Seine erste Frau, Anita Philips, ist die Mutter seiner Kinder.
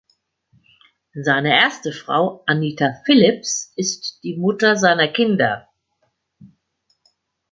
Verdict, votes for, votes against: accepted, 2, 0